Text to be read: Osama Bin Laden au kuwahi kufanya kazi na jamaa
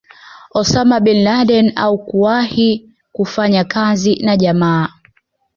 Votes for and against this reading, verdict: 2, 0, accepted